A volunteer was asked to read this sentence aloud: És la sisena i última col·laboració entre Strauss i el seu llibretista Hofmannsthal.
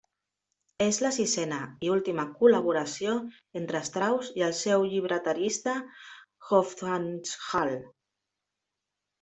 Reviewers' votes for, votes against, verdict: 0, 2, rejected